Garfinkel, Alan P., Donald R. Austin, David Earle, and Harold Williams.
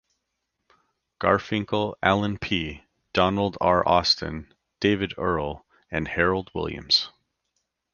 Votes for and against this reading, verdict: 2, 0, accepted